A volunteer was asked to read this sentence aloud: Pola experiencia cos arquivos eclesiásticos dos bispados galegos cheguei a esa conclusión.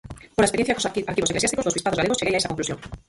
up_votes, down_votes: 0, 4